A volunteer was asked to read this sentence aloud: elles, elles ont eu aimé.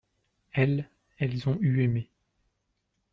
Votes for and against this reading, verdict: 2, 0, accepted